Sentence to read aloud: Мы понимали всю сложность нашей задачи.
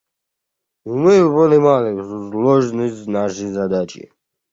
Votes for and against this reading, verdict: 1, 2, rejected